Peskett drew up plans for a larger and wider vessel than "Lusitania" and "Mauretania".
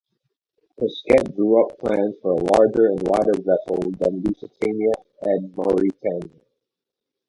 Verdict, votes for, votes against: rejected, 0, 4